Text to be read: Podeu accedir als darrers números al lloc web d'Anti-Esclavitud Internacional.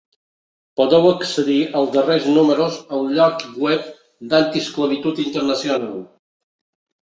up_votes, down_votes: 2, 0